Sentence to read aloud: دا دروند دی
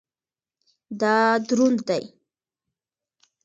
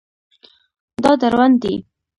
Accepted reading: first